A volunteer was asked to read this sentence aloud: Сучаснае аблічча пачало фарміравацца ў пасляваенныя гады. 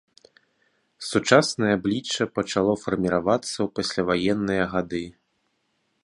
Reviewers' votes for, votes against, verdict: 4, 0, accepted